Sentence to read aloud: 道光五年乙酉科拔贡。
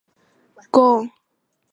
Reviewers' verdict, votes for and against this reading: rejected, 0, 5